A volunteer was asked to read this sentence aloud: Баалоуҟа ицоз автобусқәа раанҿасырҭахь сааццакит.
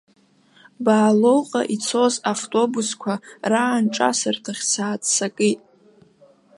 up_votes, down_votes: 2, 1